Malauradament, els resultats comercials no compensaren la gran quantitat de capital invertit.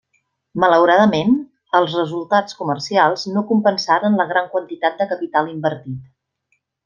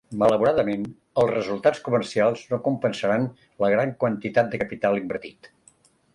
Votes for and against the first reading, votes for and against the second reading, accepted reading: 3, 0, 0, 2, first